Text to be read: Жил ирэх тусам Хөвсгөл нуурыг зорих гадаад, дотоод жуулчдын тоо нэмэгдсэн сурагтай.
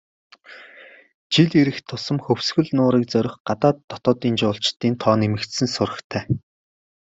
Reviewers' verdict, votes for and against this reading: accepted, 2, 0